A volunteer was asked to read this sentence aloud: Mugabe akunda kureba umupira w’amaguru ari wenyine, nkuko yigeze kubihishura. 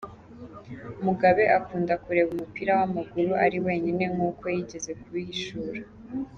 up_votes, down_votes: 2, 0